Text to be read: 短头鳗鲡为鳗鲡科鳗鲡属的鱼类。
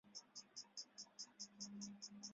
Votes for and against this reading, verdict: 0, 3, rejected